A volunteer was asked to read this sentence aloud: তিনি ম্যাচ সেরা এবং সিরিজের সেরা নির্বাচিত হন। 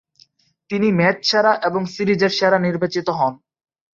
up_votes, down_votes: 0, 3